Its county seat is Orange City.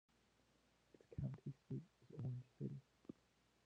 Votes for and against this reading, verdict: 0, 2, rejected